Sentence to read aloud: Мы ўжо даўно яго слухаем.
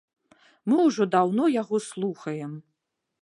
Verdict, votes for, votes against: accepted, 2, 0